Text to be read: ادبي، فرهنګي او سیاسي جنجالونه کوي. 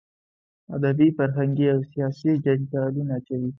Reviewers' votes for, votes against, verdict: 2, 0, accepted